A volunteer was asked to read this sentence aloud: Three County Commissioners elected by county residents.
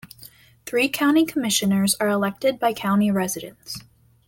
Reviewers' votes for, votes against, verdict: 1, 2, rejected